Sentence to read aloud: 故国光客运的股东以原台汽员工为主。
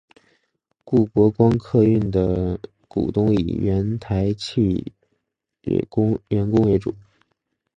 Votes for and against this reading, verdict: 3, 1, accepted